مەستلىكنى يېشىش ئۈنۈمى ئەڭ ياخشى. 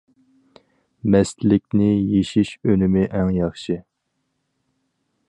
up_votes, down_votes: 4, 0